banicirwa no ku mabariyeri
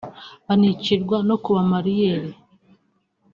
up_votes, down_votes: 1, 2